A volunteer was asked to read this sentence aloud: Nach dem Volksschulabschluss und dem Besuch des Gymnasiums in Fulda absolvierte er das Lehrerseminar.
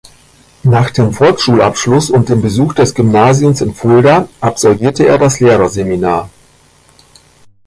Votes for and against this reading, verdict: 2, 0, accepted